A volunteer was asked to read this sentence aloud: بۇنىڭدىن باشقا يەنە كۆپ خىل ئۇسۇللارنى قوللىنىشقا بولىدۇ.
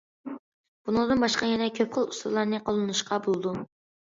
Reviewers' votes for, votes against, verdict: 2, 0, accepted